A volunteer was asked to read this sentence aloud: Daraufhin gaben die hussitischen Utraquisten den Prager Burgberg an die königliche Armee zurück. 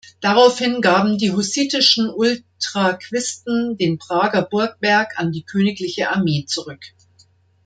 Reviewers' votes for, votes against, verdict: 0, 2, rejected